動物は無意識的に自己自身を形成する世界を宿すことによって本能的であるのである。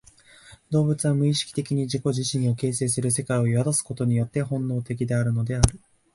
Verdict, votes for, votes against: accepted, 3, 0